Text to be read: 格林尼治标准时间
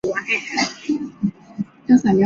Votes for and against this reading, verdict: 1, 2, rejected